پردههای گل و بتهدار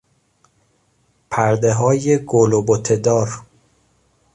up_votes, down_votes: 2, 0